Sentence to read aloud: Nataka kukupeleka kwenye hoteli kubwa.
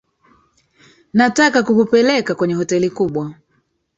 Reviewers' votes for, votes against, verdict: 2, 1, accepted